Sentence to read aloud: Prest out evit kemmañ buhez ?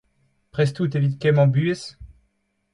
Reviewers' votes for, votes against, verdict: 2, 0, accepted